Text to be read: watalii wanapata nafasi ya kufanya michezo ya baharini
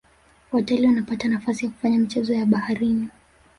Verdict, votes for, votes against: accepted, 2, 0